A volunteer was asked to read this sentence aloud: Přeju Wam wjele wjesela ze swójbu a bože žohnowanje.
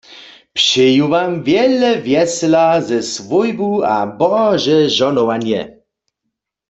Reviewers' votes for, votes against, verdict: 1, 2, rejected